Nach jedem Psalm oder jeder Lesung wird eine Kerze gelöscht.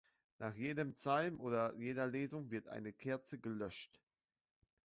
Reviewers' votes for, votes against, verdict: 2, 0, accepted